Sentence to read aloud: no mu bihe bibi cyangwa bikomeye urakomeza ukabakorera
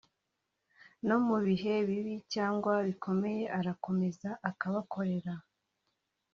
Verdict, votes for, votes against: accepted, 3, 0